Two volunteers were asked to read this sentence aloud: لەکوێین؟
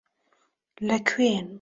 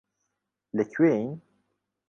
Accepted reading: second